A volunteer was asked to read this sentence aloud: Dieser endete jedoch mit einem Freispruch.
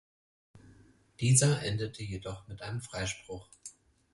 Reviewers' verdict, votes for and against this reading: accepted, 4, 0